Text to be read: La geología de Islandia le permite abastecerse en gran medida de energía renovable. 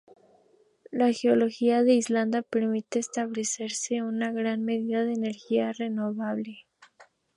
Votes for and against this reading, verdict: 0, 2, rejected